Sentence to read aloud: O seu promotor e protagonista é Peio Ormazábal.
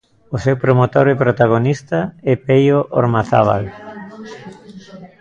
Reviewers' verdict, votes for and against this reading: rejected, 1, 2